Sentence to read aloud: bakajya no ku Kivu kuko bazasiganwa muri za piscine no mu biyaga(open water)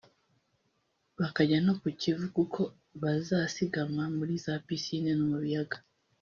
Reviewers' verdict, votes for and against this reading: rejected, 0, 2